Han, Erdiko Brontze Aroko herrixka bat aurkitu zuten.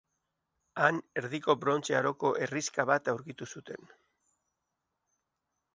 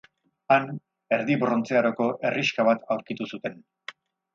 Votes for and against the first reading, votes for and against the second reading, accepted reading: 2, 0, 0, 4, first